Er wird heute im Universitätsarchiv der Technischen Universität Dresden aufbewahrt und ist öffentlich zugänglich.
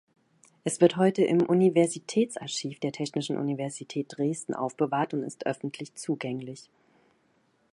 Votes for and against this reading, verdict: 1, 2, rejected